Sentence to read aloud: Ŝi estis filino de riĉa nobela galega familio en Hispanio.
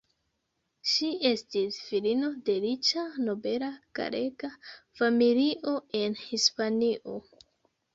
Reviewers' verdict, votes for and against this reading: accepted, 2, 1